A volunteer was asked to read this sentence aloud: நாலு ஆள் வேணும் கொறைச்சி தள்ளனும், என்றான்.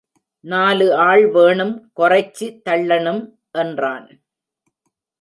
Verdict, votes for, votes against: accepted, 2, 0